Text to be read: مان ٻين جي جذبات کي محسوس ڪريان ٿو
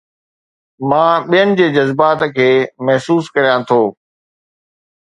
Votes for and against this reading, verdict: 2, 0, accepted